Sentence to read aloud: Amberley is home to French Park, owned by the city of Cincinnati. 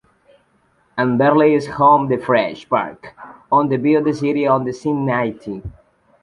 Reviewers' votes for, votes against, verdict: 0, 2, rejected